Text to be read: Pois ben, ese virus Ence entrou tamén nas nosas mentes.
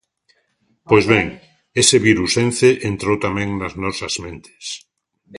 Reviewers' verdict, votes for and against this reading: accepted, 2, 0